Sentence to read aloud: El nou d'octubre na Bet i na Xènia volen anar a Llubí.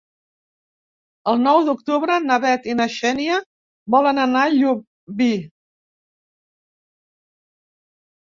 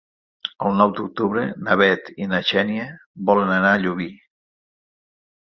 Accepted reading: second